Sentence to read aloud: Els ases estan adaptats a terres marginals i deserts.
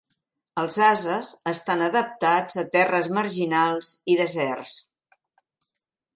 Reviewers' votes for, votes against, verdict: 4, 0, accepted